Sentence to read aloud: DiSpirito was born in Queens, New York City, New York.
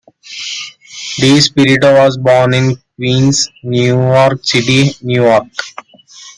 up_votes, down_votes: 0, 2